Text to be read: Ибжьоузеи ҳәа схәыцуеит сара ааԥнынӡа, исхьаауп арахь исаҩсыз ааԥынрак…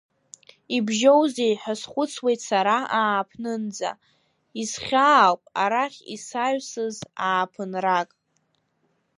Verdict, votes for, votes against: accepted, 2, 0